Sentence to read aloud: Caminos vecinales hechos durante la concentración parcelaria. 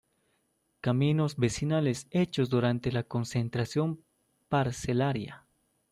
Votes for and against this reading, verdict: 0, 2, rejected